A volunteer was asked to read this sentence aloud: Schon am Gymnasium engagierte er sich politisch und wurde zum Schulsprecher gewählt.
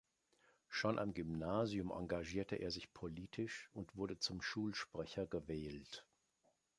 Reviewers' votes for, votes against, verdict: 2, 0, accepted